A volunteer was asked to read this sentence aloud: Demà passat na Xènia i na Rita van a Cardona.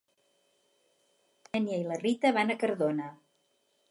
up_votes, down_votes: 0, 4